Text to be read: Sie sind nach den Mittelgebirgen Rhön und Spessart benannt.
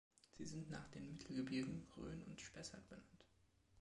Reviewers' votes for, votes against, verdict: 2, 1, accepted